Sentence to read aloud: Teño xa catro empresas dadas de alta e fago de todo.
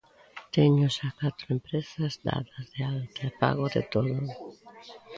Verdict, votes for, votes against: accepted, 2, 0